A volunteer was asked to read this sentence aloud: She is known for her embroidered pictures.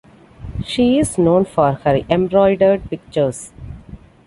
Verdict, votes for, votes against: accepted, 2, 0